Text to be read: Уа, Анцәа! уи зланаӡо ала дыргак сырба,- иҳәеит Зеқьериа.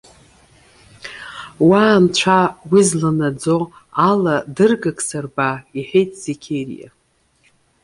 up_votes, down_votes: 2, 0